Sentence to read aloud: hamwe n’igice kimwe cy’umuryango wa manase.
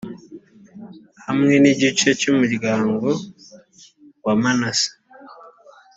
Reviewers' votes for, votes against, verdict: 1, 2, rejected